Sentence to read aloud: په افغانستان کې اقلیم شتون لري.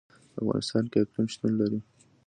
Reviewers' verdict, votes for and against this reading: accepted, 2, 0